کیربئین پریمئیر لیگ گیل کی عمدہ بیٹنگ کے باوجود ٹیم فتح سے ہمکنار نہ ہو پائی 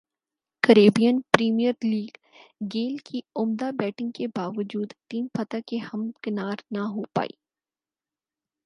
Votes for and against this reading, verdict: 6, 0, accepted